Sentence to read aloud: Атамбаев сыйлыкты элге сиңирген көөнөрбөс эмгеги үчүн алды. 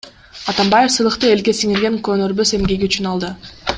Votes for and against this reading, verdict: 2, 1, accepted